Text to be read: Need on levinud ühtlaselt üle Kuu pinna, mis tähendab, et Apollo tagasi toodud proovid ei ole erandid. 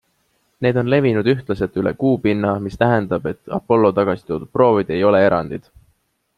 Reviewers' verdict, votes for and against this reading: accepted, 2, 0